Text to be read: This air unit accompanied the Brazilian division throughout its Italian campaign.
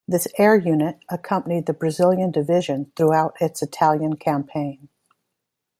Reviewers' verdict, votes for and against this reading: rejected, 0, 2